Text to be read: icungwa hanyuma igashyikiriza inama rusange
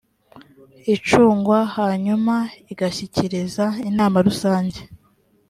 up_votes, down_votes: 2, 0